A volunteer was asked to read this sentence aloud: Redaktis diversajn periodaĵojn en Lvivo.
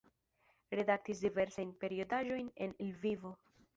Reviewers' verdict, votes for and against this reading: rejected, 0, 2